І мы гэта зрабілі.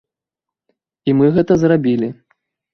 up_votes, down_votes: 2, 0